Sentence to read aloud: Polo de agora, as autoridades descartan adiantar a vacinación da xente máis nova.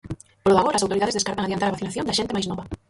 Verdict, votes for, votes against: rejected, 0, 4